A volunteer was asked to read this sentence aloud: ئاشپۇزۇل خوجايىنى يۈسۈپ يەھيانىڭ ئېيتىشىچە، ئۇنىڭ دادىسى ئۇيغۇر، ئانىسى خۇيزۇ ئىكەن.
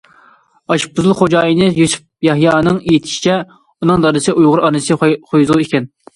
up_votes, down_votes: 0, 2